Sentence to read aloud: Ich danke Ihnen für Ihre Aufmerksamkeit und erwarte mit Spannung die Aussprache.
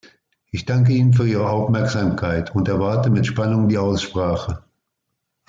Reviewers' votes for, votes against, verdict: 2, 0, accepted